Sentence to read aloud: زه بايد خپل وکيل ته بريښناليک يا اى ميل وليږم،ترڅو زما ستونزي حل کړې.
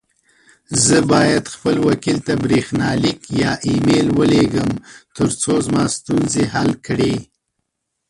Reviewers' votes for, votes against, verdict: 2, 0, accepted